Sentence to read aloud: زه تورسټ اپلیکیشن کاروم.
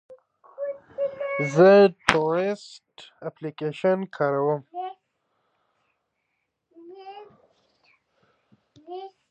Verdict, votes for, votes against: accepted, 2, 1